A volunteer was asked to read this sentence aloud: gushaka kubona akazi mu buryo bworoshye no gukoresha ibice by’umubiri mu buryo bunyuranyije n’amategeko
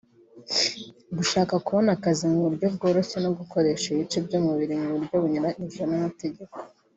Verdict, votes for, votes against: accepted, 2, 0